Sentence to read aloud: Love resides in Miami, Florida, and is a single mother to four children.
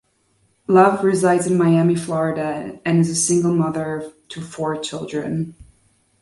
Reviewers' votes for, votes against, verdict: 2, 0, accepted